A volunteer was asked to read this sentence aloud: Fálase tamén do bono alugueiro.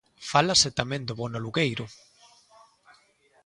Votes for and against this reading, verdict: 2, 0, accepted